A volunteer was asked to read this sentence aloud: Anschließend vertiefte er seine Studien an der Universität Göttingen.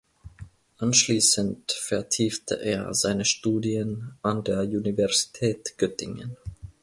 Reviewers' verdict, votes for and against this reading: accepted, 2, 1